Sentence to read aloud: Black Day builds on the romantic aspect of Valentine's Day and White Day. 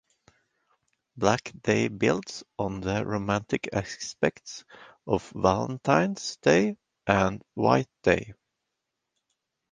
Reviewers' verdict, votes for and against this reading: accepted, 2, 1